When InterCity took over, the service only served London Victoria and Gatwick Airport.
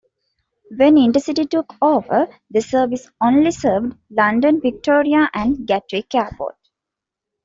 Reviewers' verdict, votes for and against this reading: accepted, 2, 0